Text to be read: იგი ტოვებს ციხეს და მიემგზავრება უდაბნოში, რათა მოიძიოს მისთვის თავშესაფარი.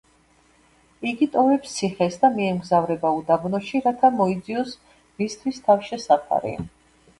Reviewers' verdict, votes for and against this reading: rejected, 0, 2